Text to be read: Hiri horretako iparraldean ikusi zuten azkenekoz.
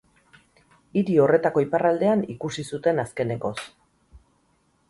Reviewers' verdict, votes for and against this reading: rejected, 2, 2